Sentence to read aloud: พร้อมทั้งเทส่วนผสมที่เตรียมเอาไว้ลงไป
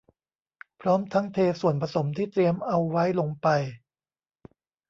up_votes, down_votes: 2, 0